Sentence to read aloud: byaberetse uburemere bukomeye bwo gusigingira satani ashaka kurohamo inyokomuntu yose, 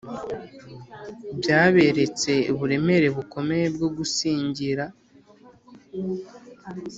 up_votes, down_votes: 0, 2